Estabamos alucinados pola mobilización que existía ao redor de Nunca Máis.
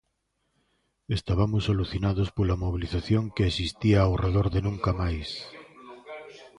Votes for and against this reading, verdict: 0, 2, rejected